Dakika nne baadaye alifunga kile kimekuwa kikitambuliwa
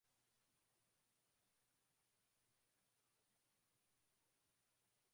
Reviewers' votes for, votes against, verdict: 0, 4, rejected